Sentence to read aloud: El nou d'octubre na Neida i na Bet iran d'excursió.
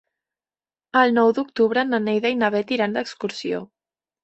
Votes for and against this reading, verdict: 3, 0, accepted